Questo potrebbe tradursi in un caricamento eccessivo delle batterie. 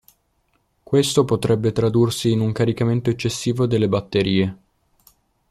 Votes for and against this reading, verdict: 2, 0, accepted